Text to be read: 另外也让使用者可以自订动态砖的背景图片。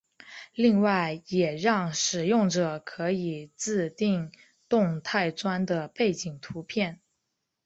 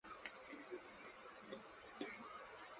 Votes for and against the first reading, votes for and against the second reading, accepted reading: 2, 0, 0, 2, first